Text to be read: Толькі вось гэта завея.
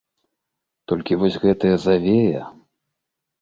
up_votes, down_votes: 0, 2